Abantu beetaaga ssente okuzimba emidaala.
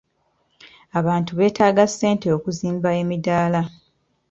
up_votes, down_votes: 2, 0